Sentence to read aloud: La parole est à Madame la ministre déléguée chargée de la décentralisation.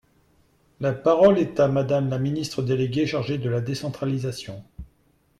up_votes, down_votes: 2, 0